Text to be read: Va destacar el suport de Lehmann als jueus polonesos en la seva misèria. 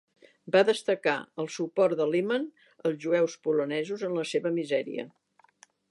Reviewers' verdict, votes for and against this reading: accepted, 2, 0